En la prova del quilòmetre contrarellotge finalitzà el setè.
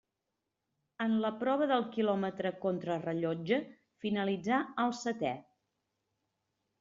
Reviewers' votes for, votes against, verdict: 2, 0, accepted